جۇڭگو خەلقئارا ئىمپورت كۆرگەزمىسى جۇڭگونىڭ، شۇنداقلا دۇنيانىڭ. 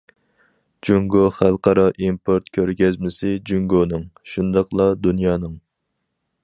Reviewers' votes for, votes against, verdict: 4, 0, accepted